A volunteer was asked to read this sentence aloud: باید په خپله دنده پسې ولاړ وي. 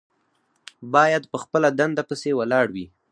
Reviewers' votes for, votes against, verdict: 4, 0, accepted